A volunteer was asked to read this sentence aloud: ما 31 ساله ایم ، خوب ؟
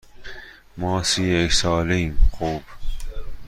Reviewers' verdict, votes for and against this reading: rejected, 0, 2